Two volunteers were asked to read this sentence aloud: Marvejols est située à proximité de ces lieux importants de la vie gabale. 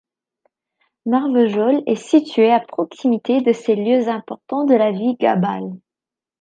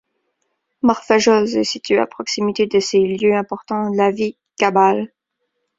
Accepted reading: first